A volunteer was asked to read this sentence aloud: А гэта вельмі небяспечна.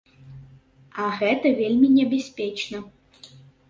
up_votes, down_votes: 2, 0